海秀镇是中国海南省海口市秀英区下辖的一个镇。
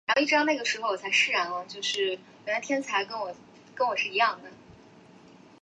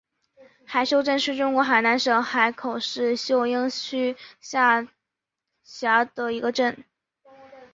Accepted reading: second